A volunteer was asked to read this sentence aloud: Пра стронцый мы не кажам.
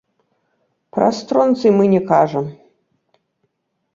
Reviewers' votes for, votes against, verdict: 2, 0, accepted